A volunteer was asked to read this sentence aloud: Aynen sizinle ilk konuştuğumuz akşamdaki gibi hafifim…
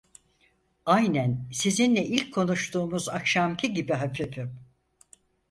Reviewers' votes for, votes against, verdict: 2, 4, rejected